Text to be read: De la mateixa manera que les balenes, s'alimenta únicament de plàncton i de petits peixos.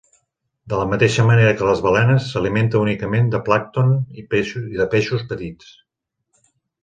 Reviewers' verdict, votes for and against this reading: rejected, 0, 2